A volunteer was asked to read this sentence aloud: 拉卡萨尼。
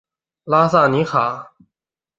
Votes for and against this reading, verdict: 0, 3, rejected